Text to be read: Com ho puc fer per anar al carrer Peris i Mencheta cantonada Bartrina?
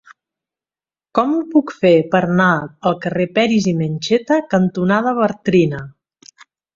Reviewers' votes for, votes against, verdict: 0, 2, rejected